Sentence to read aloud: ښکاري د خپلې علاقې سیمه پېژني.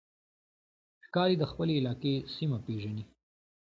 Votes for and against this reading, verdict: 2, 0, accepted